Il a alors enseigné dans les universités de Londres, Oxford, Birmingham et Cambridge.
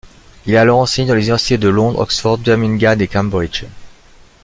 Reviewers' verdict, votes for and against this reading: rejected, 0, 2